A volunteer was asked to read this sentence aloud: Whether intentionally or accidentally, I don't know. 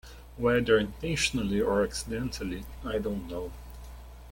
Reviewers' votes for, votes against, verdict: 2, 0, accepted